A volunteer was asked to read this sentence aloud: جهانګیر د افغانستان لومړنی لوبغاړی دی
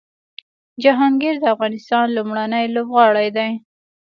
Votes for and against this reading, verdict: 2, 0, accepted